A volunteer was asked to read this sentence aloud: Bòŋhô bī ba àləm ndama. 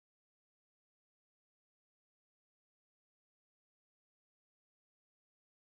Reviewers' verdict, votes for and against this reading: rejected, 0, 2